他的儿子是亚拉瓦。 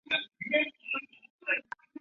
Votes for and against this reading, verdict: 0, 3, rejected